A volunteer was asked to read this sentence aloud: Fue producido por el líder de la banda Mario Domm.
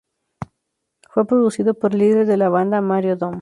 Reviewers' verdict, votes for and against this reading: accepted, 2, 0